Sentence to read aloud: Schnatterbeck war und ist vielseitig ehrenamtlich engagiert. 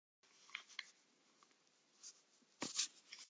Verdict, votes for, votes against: rejected, 0, 2